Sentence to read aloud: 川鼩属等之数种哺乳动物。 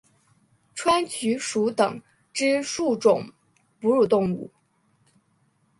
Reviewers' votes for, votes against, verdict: 3, 0, accepted